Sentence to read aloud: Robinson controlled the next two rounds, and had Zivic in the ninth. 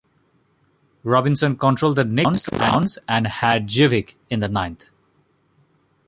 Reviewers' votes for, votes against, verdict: 1, 2, rejected